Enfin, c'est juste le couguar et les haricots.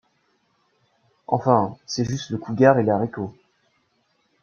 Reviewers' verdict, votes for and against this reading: accepted, 2, 0